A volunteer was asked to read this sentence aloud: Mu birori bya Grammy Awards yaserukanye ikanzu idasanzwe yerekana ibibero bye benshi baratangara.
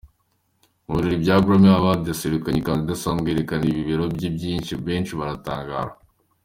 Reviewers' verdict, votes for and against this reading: accepted, 2, 1